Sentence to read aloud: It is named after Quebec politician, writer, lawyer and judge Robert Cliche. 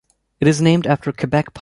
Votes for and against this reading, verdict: 0, 2, rejected